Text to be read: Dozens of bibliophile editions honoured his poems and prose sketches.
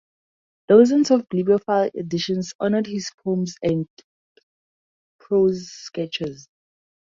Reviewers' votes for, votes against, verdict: 2, 4, rejected